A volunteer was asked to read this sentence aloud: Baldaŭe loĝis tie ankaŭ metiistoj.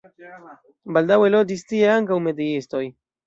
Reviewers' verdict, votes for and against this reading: rejected, 1, 2